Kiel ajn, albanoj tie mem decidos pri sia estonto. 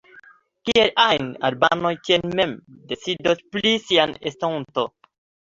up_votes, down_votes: 1, 2